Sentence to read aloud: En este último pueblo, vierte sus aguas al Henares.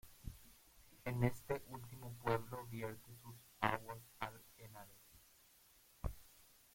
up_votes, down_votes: 0, 2